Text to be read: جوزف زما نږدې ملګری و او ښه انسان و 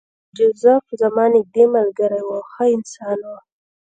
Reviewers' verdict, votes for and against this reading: accepted, 2, 0